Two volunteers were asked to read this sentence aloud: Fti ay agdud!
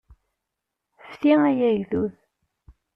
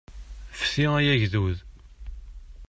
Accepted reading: second